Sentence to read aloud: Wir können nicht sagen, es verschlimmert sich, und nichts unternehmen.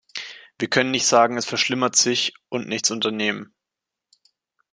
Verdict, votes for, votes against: accepted, 2, 0